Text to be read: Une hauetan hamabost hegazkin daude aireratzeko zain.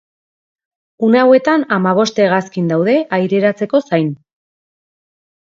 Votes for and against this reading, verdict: 3, 0, accepted